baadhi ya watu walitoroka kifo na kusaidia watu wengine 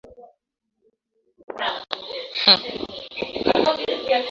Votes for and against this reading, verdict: 0, 2, rejected